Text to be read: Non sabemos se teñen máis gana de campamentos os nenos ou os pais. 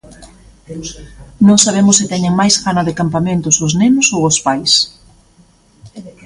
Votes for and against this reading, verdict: 0, 2, rejected